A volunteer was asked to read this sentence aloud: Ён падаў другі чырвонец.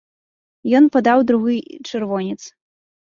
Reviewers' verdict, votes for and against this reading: rejected, 0, 2